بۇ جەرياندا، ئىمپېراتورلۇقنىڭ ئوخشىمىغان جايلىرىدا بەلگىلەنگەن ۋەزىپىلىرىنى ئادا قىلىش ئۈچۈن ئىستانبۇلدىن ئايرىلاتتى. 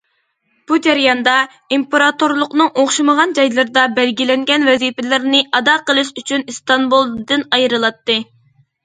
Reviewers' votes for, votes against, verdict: 2, 0, accepted